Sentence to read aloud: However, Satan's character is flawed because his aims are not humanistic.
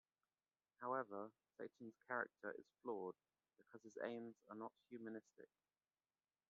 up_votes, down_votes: 1, 2